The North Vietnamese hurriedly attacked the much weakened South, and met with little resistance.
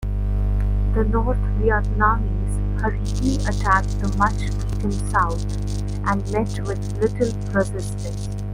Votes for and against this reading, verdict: 0, 2, rejected